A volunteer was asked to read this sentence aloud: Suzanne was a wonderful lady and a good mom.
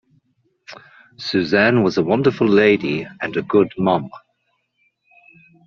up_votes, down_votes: 2, 0